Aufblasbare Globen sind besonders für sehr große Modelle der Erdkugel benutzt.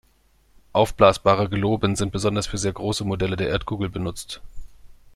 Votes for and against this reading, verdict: 2, 0, accepted